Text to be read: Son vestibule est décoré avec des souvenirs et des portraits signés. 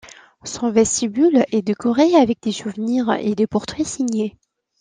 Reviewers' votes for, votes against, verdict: 2, 0, accepted